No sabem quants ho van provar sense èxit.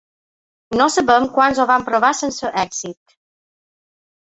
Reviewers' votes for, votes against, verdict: 3, 1, accepted